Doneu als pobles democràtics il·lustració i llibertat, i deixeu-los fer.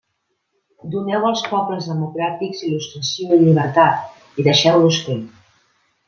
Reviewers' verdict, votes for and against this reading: rejected, 0, 2